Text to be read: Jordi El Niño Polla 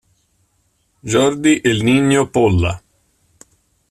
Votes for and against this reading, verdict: 1, 2, rejected